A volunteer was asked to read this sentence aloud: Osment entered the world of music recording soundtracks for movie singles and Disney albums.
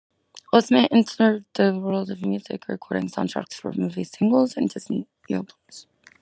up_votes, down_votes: 0, 2